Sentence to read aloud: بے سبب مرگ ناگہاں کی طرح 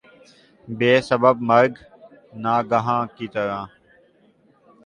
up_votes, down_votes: 2, 0